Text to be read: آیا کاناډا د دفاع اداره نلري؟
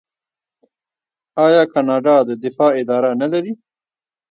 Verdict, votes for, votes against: accepted, 2, 1